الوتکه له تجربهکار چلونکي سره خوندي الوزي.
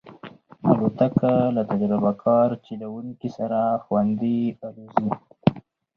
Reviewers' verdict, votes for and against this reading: rejected, 2, 2